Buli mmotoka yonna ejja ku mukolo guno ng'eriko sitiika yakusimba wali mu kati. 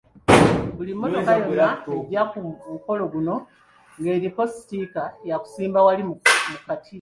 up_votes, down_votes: 1, 2